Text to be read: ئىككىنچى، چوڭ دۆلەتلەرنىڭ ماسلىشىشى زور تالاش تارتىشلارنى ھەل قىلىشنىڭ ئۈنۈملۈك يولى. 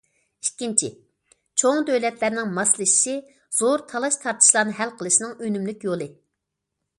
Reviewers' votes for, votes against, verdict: 2, 0, accepted